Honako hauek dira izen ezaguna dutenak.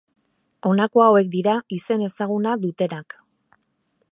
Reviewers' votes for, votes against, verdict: 2, 0, accepted